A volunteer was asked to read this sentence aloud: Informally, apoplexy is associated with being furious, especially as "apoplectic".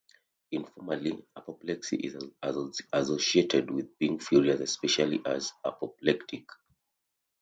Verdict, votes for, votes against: rejected, 0, 2